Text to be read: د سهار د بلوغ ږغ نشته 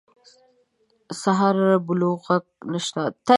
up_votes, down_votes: 0, 2